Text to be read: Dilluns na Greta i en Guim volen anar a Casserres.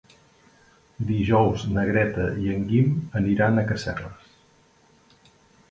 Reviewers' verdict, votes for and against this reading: rejected, 0, 2